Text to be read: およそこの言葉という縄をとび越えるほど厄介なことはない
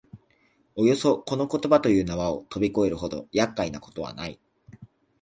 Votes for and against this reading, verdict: 2, 1, accepted